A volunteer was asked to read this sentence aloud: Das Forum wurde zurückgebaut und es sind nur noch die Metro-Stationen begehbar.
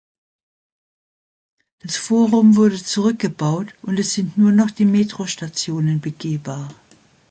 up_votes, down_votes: 1, 2